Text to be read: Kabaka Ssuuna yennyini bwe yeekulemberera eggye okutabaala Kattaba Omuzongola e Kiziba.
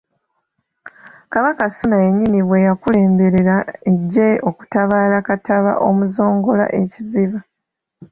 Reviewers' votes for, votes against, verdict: 2, 1, accepted